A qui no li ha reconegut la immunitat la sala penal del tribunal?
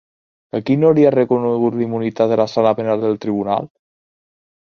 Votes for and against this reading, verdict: 2, 1, accepted